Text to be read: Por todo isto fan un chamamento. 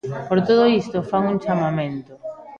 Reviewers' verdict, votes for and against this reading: rejected, 1, 2